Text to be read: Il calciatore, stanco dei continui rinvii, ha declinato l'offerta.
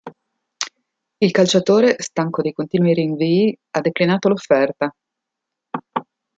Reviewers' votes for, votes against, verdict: 2, 0, accepted